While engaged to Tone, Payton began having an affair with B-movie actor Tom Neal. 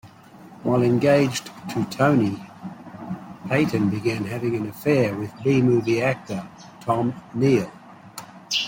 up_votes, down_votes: 2, 1